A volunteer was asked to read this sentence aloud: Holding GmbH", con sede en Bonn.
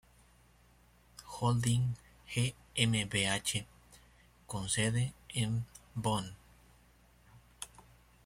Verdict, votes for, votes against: accepted, 2, 0